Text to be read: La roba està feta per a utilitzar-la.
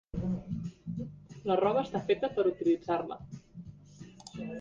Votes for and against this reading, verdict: 0, 2, rejected